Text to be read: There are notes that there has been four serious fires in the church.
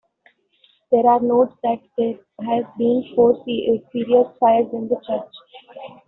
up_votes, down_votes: 0, 2